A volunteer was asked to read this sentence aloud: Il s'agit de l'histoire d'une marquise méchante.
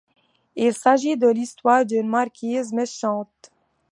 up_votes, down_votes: 2, 0